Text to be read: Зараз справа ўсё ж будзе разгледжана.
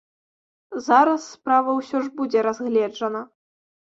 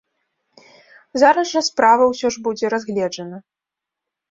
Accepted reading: first